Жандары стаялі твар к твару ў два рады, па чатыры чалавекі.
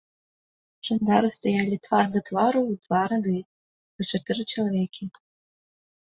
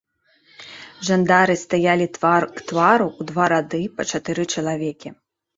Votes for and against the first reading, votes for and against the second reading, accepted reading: 1, 2, 2, 1, second